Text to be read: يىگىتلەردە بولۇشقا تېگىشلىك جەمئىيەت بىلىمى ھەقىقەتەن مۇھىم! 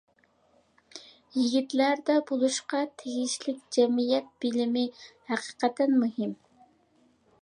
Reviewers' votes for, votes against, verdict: 2, 0, accepted